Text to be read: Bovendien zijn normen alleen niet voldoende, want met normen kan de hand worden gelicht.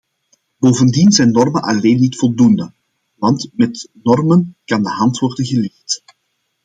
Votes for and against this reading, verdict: 2, 0, accepted